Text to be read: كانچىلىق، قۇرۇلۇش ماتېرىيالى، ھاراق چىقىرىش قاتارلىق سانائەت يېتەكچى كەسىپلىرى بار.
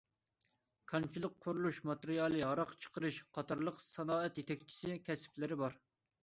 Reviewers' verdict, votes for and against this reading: rejected, 0, 2